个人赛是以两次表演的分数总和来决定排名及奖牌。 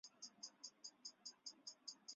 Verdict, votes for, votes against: accepted, 2, 0